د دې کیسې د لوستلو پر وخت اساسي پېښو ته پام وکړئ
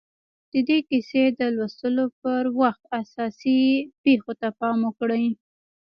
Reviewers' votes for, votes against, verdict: 0, 2, rejected